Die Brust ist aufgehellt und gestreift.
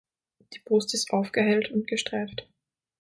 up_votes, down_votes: 9, 0